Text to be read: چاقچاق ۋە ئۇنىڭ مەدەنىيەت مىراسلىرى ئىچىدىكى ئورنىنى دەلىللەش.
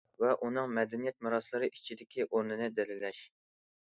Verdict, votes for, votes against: rejected, 0, 2